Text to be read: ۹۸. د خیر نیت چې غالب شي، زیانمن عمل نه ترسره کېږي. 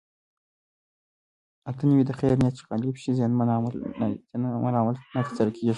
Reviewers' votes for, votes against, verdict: 0, 2, rejected